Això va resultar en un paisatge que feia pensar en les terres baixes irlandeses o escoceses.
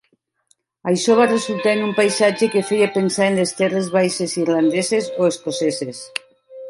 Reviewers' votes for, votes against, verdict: 1, 2, rejected